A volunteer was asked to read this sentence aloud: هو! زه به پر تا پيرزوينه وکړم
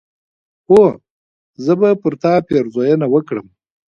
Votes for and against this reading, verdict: 2, 1, accepted